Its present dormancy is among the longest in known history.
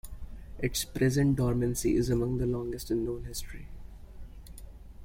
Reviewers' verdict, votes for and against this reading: accepted, 2, 0